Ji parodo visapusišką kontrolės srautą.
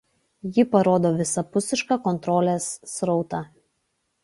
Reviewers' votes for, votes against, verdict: 2, 0, accepted